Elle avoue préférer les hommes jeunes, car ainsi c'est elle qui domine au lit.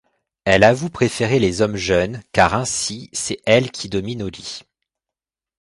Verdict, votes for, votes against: accepted, 2, 0